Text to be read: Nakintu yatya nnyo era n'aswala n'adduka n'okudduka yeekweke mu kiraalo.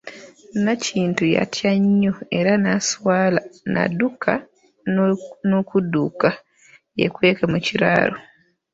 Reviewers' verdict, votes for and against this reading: rejected, 1, 2